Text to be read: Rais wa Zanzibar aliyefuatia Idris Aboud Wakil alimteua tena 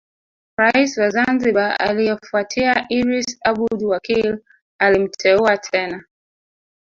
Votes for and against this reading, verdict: 1, 2, rejected